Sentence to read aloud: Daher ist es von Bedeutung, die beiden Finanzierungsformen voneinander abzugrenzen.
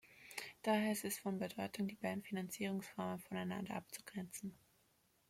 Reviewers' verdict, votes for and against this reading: rejected, 1, 2